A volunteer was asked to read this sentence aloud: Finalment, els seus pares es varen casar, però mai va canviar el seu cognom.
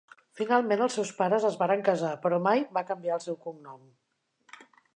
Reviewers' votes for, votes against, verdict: 2, 0, accepted